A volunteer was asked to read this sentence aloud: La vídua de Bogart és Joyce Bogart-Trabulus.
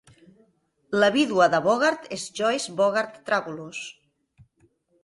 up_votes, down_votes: 2, 0